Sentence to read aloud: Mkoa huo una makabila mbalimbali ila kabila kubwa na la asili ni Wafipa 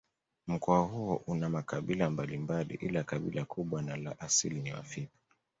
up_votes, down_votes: 2, 0